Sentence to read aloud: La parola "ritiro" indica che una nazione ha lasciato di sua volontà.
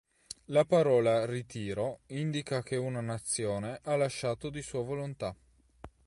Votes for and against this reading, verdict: 3, 0, accepted